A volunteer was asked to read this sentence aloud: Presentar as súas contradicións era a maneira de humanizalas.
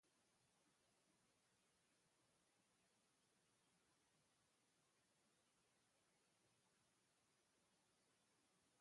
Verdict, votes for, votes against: rejected, 0, 2